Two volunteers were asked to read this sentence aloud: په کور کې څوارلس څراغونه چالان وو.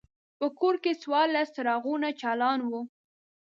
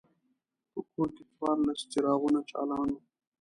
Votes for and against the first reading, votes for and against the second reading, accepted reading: 2, 0, 0, 2, first